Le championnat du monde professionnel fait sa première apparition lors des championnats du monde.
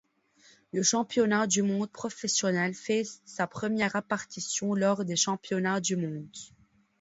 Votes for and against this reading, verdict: 2, 1, accepted